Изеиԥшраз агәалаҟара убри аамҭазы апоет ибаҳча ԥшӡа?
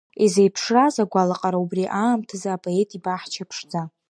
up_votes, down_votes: 2, 1